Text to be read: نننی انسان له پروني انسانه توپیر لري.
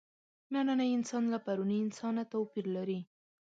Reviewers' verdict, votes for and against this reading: accepted, 4, 0